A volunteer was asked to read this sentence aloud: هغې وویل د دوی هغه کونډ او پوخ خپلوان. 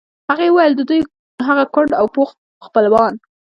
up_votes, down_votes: 1, 2